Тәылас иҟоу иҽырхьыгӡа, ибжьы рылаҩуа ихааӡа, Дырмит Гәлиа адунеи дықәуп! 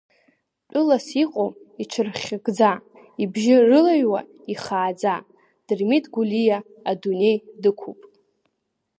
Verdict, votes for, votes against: accepted, 2, 0